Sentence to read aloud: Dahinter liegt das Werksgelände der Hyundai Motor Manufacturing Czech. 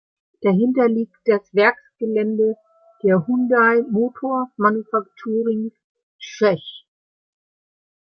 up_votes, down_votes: 1, 2